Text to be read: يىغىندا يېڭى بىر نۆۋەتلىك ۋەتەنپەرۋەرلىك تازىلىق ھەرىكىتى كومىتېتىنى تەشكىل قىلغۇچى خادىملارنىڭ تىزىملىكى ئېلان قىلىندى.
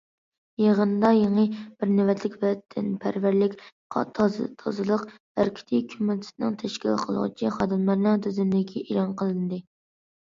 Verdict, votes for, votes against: rejected, 0, 2